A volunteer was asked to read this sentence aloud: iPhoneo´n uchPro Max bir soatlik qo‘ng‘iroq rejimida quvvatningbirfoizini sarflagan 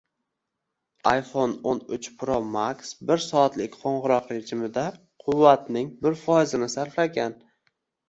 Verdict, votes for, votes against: rejected, 0, 2